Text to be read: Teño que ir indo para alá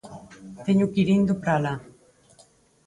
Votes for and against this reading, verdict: 2, 4, rejected